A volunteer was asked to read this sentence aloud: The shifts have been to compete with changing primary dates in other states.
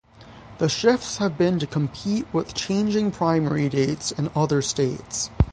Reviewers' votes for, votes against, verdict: 3, 3, rejected